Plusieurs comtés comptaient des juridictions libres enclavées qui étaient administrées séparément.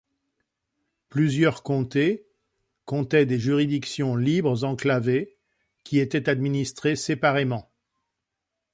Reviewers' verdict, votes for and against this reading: accepted, 2, 0